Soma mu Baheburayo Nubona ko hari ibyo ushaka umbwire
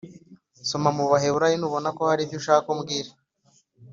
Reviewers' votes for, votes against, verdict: 3, 0, accepted